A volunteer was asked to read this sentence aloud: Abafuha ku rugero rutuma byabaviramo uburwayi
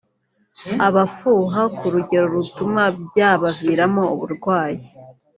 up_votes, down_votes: 3, 1